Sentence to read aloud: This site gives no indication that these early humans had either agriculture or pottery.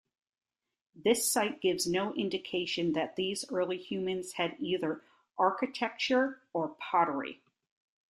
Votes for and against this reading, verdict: 1, 2, rejected